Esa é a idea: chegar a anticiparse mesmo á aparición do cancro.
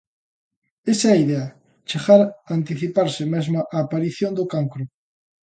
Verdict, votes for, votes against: accepted, 2, 0